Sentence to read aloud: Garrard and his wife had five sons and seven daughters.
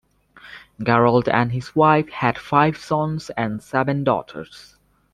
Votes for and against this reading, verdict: 2, 1, accepted